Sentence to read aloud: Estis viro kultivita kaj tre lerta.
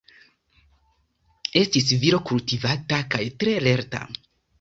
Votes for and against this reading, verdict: 0, 2, rejected